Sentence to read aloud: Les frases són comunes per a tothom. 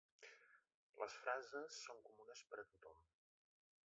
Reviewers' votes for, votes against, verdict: 1, 2, rejected